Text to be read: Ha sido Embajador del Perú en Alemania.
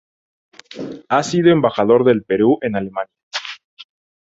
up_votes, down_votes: 2, 0